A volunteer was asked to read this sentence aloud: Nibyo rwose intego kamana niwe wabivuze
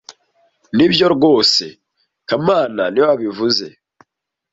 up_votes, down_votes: 0, 2